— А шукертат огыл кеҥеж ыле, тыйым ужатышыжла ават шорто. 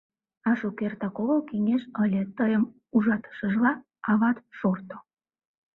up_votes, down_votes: 0, 2